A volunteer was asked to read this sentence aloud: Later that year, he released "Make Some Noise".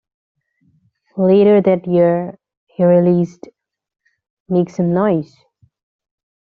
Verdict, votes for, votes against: accepted, 2, 0